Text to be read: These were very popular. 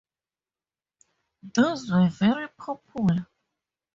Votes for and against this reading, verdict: 0, 2, rejected